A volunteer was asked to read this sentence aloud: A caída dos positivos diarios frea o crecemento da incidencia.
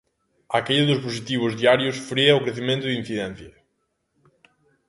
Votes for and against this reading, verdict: 2, 0, accepted